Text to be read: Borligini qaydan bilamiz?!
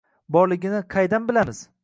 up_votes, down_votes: 2, 0